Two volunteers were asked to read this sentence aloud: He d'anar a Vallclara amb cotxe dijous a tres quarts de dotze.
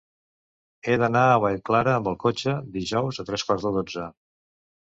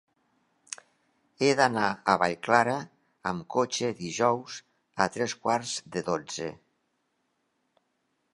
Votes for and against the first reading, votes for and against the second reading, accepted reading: 0, 2, 4, 0, second